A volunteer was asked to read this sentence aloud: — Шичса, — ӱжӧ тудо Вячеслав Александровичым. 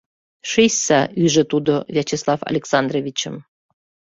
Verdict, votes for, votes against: accepted, 2, 0